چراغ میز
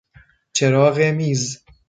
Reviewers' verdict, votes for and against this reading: rejected, 1, 2